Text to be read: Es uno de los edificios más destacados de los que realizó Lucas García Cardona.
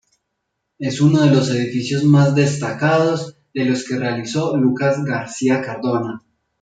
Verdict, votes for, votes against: accepted, 2, 0